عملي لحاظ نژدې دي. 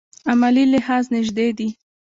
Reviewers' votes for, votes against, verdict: 2, 1, accepted